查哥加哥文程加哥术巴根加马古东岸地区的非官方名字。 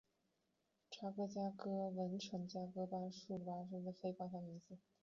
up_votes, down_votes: 1, 4